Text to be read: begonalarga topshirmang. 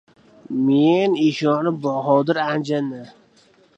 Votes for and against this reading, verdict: 0, 2, rejected